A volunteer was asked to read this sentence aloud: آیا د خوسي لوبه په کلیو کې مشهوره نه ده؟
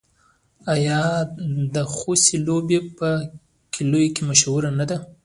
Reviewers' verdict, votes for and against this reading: rejected, 1, 2